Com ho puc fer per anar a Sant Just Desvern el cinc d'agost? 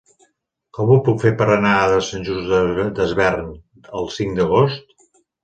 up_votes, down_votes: 0, 2